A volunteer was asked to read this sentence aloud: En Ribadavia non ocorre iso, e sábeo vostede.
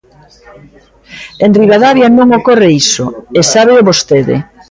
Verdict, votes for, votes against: rejected, 1, 2